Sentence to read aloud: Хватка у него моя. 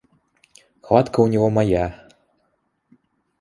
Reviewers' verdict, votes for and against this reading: accepted, 2, 0